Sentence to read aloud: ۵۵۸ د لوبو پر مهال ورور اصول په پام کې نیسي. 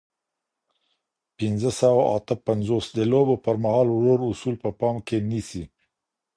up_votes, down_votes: 0, 2